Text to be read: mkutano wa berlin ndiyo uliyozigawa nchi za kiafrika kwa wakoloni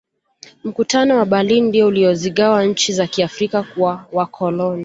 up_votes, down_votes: 2, 0